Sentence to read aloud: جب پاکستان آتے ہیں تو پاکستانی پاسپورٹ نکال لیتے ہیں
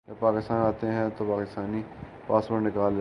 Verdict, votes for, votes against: rejected, 0, 2